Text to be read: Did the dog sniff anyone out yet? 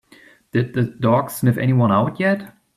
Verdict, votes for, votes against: accepted, 2, 0